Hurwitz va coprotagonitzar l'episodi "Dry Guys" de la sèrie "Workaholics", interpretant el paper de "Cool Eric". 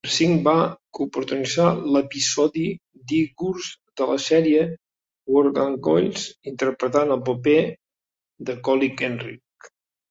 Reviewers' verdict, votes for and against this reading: rejected, 0, 2